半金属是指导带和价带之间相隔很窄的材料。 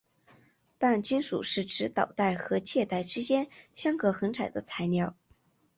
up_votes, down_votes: 5, 1